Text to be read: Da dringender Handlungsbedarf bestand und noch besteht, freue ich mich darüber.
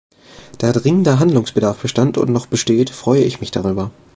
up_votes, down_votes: 2, 0